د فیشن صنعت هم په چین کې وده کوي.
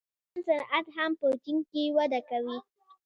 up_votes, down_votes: 0, 2